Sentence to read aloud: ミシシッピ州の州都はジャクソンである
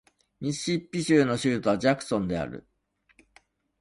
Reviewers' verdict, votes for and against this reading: accepted, 2, 0